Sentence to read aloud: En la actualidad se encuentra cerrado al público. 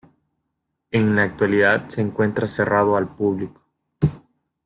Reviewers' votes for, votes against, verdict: 2, 1, accepted